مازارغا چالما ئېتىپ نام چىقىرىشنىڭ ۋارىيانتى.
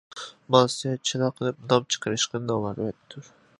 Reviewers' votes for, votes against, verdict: 0, 2, rejected